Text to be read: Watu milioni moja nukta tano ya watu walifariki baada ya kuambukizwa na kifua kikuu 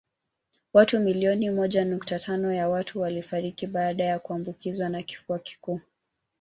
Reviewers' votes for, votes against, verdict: 1, 2, rejected